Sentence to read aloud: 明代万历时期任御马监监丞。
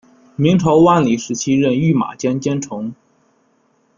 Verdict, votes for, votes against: rejected, 1, 2